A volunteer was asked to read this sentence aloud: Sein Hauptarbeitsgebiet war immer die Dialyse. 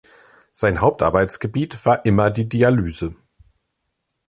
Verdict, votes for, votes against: accepted, 2, 0